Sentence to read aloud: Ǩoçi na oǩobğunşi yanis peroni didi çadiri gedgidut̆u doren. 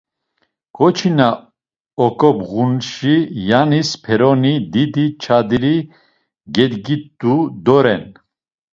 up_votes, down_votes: 0, 2